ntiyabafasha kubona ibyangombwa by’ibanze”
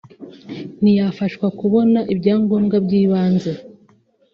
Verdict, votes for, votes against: rejected, 1, 2